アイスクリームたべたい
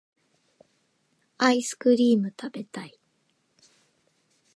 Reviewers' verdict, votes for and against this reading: accepted, 2, 0